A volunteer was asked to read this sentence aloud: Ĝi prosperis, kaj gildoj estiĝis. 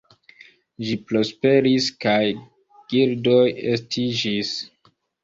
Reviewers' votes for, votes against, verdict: 2, 1, accepted